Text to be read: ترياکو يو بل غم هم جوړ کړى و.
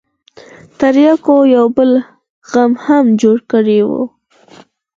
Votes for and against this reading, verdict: 0, 4, rejected